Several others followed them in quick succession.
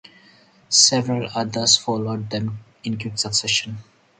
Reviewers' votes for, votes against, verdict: 0, 2, rejected